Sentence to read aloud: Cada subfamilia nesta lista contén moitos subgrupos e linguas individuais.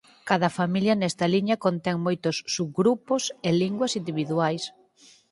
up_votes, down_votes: 2, 4